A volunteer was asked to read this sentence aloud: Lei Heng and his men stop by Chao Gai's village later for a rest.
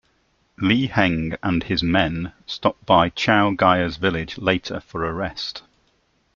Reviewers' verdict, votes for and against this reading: accepted, 2, 0